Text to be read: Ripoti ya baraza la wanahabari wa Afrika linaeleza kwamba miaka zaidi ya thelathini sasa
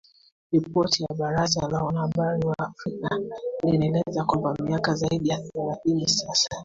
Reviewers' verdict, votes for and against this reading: rejected, 1, 2